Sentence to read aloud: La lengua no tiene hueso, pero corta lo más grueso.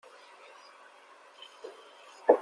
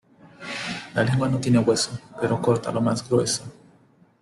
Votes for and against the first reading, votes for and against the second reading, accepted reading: 0, 2, 2, 0, second